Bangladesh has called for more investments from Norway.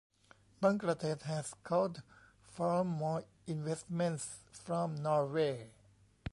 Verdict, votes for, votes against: rejected, 1, 2